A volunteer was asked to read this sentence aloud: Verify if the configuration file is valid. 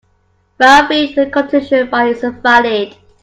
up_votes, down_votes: 0, 2